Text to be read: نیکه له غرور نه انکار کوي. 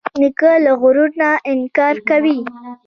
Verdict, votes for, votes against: accepted, 2, 0